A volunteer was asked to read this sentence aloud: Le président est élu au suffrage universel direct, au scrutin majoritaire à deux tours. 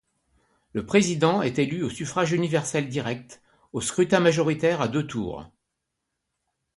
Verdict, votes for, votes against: accepted, 2, 0